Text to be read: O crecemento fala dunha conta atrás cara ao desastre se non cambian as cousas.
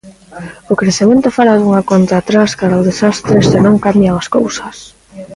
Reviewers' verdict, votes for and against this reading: accepted, 3, 1